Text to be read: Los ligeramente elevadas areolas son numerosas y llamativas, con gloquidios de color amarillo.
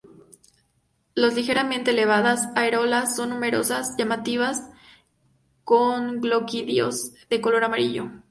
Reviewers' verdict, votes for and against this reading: accepted, 2, 0